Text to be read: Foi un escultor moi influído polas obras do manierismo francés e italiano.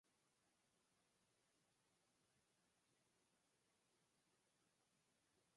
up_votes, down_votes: 0, 4